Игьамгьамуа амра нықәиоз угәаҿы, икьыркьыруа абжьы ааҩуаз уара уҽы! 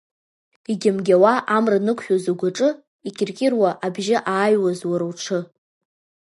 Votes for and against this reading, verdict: 1, 2, rejected